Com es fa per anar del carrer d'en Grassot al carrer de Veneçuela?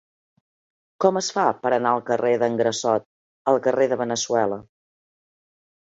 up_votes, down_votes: 0, 2